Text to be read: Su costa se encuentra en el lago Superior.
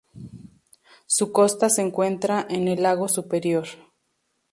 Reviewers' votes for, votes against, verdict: 2, 0, accepted